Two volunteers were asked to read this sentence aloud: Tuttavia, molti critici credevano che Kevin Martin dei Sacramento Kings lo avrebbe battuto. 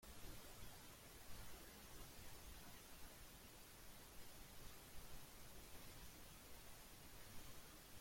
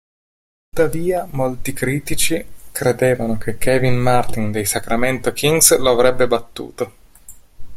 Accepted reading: second